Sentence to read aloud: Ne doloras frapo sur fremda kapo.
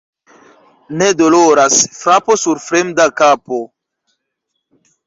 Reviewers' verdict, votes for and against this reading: accepted, 3, 0